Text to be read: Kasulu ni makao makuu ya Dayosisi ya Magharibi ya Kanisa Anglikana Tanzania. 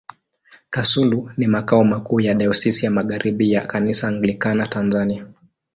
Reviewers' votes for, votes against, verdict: 2, 0, accepted